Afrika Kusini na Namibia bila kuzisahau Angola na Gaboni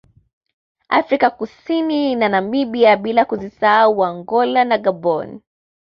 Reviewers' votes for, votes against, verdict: 2, 0, accepted